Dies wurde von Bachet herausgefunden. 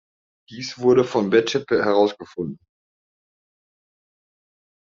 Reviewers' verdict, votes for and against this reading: accepted, 2, 0